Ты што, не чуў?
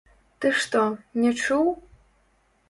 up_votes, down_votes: 0, 2